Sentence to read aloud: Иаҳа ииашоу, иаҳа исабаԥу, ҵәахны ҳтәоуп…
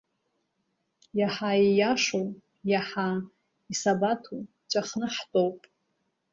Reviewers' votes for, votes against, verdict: 1, 2, rejected